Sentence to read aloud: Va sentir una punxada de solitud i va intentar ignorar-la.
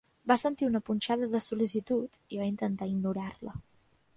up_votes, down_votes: 0, 2